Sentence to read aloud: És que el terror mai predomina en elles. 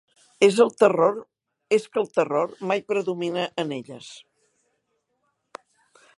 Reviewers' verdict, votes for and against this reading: rejected, 1, 2